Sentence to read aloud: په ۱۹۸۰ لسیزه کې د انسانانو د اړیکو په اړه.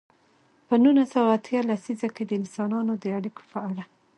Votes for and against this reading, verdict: 0, 2, rejected